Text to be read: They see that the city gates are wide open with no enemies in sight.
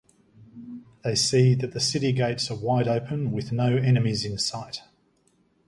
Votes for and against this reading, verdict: 2, 0, accepted